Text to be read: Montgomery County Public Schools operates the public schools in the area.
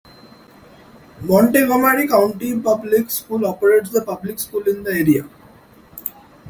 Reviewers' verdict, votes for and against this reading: rejected, 1, 2